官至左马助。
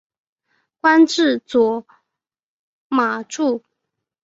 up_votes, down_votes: 2, 0